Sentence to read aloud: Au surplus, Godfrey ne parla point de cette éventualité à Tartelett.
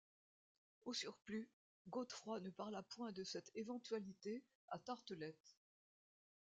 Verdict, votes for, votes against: rejected, 0, 2